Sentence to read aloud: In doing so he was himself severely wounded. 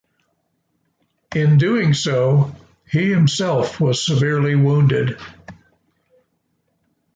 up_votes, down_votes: 0, 2